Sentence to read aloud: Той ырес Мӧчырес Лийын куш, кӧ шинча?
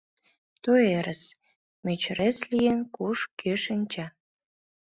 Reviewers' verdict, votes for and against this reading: accepted, 2, 0